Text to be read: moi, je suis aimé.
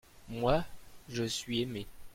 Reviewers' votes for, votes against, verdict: 1, 2, rejected